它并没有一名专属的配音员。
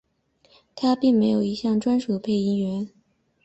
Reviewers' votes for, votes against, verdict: 1, 2, rejected